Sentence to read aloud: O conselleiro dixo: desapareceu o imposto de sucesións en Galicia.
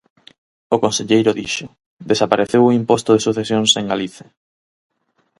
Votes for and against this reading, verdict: 2, 4, rejected